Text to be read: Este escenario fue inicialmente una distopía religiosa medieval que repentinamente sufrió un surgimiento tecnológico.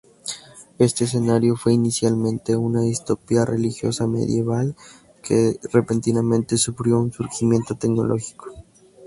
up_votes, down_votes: 2, 4